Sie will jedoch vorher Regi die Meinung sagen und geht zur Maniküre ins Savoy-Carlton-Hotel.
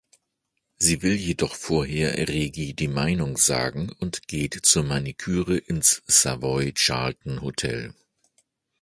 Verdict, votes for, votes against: rejected, 0, 2